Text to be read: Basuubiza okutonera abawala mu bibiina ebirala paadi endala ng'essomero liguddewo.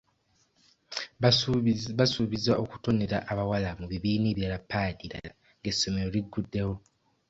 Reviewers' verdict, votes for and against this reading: rejected, 1, 2